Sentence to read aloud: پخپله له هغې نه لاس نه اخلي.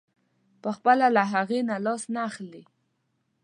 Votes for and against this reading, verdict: 2, 0, accepted